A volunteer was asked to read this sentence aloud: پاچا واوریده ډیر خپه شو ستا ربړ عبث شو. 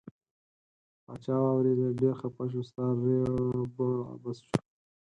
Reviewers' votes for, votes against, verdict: 4, 2, accepted